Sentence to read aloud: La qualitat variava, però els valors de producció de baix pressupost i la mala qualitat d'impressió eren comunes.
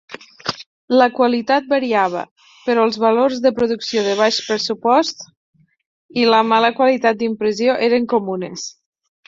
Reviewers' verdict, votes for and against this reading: accepted, 6, 2